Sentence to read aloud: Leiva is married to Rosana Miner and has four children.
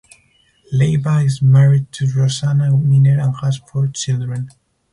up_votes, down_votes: 2, 2